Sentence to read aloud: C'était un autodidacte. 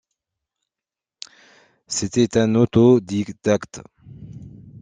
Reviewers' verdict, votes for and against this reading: rejected, 1, 2